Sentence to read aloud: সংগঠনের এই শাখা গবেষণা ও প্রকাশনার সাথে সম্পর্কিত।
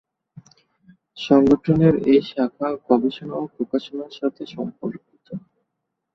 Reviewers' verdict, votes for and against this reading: accepted, 4, 3